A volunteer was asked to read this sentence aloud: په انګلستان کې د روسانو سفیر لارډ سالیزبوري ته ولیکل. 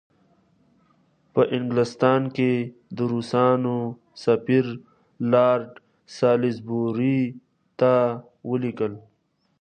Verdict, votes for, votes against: rejected, 1, 2